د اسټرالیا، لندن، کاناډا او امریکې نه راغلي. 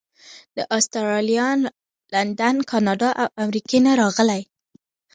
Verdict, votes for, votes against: accepted, 2, 1